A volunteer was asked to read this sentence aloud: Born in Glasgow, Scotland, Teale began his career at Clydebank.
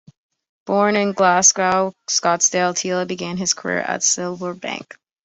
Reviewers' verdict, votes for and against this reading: rejected, 0, 2